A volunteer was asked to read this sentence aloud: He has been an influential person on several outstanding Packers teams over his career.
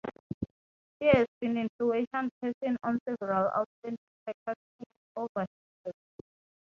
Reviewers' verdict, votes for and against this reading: rejected, 0, 3